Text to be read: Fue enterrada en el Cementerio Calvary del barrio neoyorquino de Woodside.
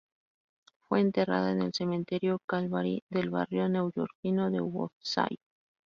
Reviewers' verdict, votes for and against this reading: accepted, 2, 0